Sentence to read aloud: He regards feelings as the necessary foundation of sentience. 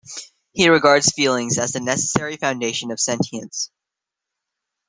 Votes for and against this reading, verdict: 2, 0, accepted